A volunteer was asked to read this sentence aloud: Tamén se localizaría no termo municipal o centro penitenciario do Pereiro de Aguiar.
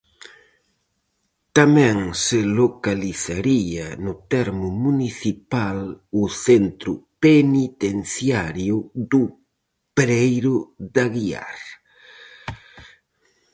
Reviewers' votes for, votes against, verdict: 4, 0, accepted